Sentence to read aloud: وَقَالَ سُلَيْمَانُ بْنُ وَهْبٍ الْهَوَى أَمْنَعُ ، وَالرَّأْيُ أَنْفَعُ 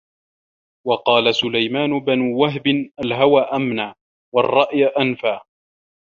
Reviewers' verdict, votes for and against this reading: rejected, 0, 2